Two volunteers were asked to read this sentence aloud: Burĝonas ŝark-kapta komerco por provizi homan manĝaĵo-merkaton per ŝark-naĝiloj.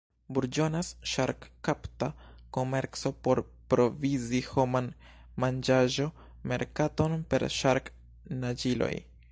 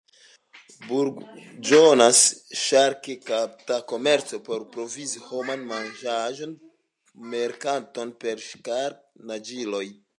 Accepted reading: second